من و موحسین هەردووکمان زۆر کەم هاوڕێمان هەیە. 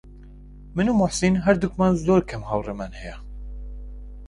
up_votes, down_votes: 2, 0